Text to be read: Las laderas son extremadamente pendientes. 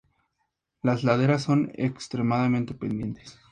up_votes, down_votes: 2, 0